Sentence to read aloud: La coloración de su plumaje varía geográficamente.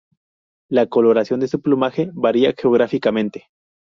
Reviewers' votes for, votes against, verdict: 4, 0, accepted